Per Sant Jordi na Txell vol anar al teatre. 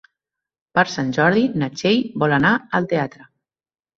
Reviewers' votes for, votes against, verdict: 2, 0, accepted